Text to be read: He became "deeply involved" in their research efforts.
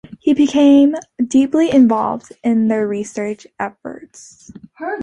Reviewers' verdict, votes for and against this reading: accepted, 2, 0